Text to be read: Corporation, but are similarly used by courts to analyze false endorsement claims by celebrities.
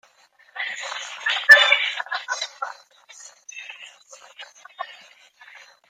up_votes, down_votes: 0, 2